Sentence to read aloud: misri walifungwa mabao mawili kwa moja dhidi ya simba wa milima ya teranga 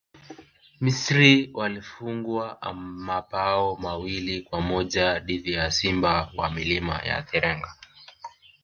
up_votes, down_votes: 3, 1